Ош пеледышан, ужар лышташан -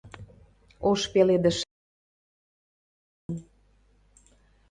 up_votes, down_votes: 0, 2